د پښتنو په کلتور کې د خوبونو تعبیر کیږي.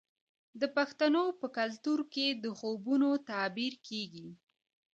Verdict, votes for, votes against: rejected, 0, 2